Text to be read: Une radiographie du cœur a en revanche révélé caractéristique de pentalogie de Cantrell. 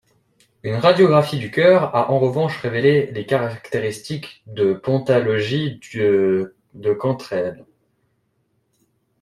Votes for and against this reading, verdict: 0, 2, rejected